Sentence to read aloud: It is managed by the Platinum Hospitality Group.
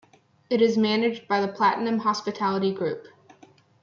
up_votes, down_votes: 2, 1